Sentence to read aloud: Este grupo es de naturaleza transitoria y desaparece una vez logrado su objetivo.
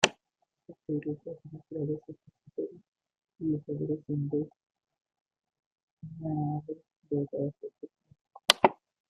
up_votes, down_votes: 0, 2